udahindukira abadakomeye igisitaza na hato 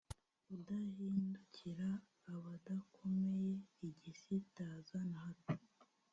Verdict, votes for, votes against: rejected, 0, 2